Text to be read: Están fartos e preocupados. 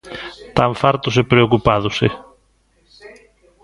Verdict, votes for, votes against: rejected, 0, 2